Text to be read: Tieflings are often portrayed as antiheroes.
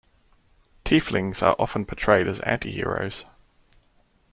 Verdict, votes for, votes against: accepted, 2, 0